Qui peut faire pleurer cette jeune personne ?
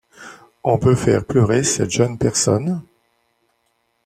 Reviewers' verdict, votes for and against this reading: rejected, 1, 2